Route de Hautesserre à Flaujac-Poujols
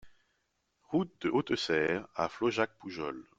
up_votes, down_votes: 2, 0